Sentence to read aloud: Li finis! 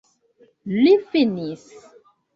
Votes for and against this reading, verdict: 2, 0, accepted